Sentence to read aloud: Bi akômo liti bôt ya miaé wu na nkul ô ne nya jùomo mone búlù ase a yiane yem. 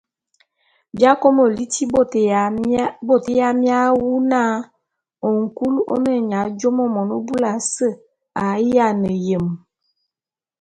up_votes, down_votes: 1, 2